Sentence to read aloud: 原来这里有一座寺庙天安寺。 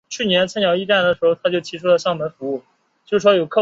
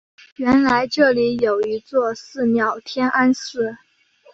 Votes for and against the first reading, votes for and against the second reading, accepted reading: 0, 3, 2, 0, second